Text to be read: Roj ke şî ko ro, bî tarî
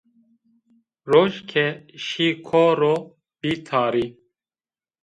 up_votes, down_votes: 1, 2